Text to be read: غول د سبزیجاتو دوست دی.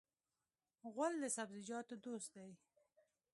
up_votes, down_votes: 2, 0